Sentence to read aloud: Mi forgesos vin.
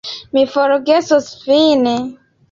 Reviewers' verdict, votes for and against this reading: accepted, 2, 0